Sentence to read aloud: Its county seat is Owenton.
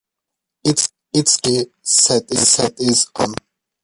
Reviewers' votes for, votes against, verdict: 0, 2, rejected